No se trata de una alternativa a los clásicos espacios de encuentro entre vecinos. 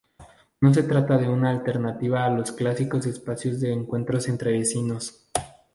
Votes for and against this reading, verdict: 0, 2, rejected